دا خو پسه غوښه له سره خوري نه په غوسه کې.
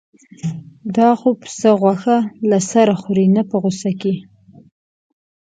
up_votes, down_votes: 2, 0